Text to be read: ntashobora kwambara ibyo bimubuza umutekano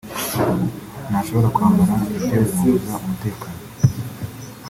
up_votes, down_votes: 1, 2